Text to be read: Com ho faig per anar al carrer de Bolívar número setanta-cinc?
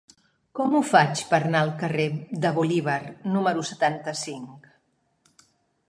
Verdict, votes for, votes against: rejected, 1, 2